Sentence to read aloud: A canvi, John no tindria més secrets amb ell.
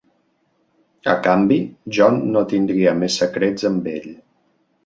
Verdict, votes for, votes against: accepted, 3, 0